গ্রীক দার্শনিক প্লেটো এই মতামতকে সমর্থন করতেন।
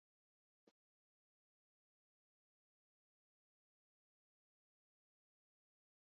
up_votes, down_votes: 0, 2